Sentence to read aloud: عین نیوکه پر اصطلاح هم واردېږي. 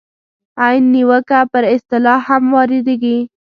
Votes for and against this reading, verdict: 2, 0, accepted